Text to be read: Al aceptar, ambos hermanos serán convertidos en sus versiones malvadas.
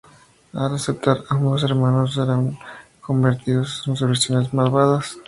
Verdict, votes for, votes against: accepted, 2, 0